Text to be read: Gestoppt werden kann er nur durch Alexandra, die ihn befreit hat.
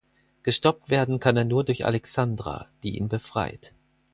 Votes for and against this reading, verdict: 0, 4, rejected